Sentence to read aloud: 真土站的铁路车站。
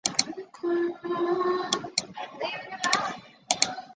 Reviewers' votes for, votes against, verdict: 0, 2, rejected